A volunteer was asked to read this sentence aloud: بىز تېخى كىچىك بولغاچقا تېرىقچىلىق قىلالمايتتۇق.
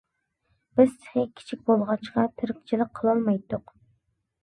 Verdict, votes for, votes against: rejected, 0, 2